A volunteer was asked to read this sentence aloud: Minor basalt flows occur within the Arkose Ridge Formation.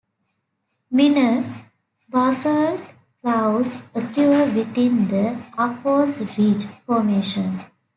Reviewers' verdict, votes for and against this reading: rejected, 1, 2